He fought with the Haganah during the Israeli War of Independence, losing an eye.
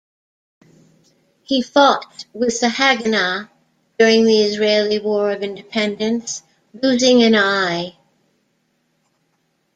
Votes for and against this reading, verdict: 2, 0, accepted